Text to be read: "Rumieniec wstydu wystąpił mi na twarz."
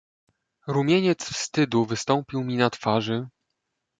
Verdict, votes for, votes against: rejected, 0, 2